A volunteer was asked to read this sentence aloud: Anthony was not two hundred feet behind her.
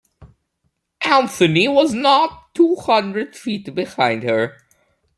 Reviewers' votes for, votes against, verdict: 1, 2, rejected